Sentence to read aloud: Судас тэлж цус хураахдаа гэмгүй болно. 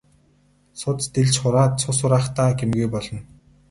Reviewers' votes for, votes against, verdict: 0, 2, rejected